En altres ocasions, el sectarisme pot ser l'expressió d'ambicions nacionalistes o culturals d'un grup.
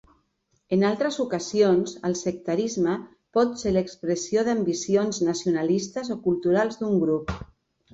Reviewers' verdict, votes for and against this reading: rejected, 1, 2